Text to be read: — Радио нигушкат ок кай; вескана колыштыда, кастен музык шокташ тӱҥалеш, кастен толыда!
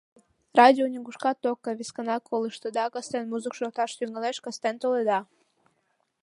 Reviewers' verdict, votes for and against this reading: rejected, 1, 2